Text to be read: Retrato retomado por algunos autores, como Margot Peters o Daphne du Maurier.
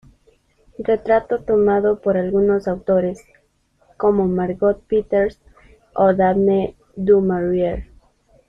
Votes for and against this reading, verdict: 0, 2, rejected